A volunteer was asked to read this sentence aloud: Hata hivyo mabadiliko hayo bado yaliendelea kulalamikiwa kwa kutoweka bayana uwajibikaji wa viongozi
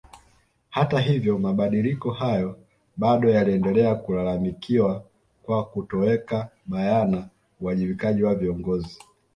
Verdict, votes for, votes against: accepted, 2, 0